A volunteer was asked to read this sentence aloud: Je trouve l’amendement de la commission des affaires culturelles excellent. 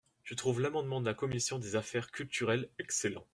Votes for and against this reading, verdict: 2, 0, accepted